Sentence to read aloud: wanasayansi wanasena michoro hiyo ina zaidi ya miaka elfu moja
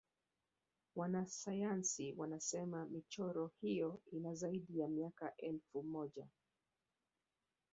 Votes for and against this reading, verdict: 0, 2, rejected